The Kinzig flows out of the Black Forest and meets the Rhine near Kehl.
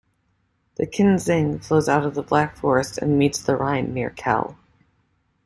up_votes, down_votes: 2, 0